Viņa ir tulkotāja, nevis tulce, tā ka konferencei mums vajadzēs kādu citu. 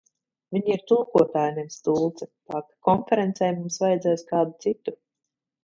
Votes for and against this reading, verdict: 2, 0, accepted